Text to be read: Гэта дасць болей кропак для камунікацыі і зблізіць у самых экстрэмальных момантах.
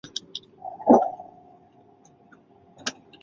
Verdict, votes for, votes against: rejected, 0, 2